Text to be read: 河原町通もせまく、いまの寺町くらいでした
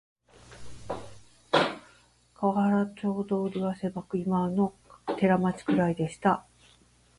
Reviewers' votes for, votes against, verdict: 0, 2, rejected